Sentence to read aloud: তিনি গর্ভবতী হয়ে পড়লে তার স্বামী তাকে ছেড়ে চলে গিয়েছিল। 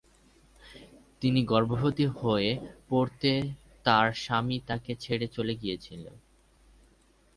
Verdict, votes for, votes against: rejected, 1, 11